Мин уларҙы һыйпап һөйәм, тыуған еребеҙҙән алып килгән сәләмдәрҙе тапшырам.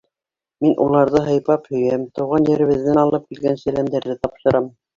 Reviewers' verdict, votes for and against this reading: rejected, 0, 2